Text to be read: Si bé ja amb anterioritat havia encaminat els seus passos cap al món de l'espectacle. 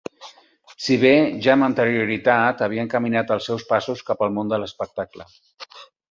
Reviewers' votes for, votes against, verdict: 4, 0, accepted